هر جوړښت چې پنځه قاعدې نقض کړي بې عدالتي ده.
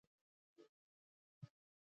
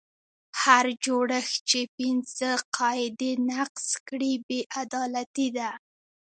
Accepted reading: second